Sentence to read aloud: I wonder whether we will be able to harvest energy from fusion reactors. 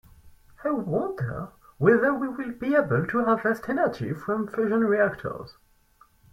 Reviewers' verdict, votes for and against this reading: rejected, 2, 2